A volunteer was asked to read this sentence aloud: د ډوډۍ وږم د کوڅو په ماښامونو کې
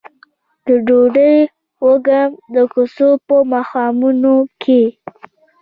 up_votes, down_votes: 2, 1